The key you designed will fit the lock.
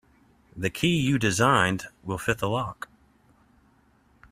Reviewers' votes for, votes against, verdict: 2, 0, accepted